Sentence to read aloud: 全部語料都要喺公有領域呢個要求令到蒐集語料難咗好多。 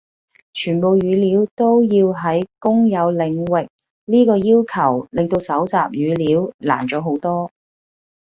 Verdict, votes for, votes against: accepted, 2, 0